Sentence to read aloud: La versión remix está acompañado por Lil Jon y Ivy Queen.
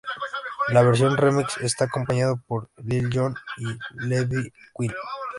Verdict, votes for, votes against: rejected, 0, 2